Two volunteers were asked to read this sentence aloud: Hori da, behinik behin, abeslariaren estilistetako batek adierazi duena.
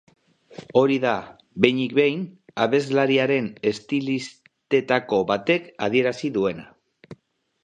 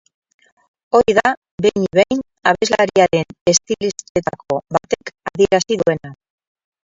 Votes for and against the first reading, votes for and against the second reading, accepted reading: 4, 0, 2, 4, first